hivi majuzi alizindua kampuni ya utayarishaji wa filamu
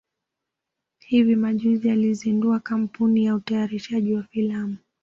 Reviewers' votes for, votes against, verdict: 2, 0, accepted